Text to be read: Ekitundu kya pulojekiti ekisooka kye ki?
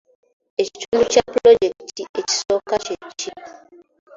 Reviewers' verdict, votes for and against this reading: accepted, 2, 1